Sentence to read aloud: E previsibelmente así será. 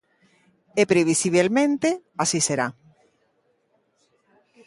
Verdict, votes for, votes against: accepted, 2, 0